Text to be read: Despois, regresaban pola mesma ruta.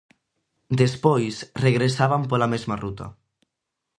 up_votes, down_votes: 2, 0